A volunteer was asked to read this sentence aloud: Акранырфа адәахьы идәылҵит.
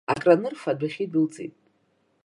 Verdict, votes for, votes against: accepted, 2, 0